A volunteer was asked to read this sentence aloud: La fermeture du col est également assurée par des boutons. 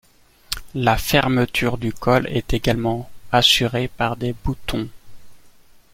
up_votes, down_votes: 2, 0